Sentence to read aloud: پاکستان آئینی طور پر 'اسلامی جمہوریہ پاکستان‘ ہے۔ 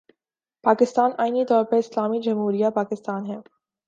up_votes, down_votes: 3, 0